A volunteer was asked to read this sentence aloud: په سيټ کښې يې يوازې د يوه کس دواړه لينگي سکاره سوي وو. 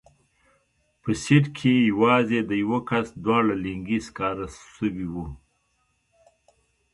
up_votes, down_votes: 2, 1